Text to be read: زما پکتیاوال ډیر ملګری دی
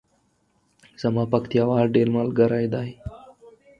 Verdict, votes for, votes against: accepted, 4, 0